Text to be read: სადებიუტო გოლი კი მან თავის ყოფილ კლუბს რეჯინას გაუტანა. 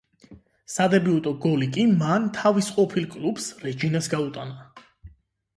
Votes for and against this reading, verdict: 8, 0, accepted